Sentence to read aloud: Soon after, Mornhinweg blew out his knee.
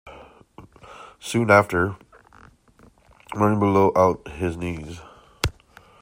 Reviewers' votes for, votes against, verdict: 0, 2, rejected